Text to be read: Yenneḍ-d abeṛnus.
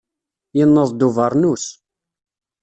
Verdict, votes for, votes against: rejected, 1, 2